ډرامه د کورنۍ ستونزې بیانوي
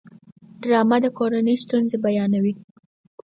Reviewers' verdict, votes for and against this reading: accepted, 4, 0